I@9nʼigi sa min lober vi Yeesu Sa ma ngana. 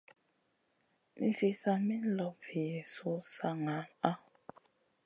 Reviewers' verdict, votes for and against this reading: rejected, 0, 2